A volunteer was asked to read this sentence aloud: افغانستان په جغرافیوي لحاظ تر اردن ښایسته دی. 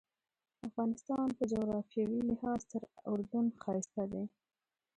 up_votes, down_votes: 1, 2